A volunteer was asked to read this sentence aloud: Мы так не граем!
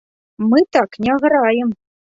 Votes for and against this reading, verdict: 2, 0, accepted